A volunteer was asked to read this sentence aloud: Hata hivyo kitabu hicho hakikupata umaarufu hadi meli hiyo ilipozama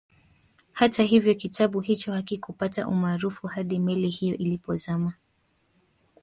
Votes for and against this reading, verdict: 1, 2, rejected